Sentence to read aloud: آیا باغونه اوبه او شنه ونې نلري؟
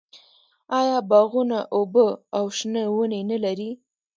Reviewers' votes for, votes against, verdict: 1, 2, rejected